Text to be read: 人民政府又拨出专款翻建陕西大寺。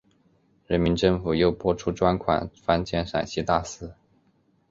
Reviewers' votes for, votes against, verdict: 2, 0, accepted